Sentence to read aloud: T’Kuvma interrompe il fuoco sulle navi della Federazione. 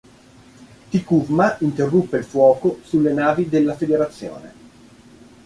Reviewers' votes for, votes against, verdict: 1, 2, rejected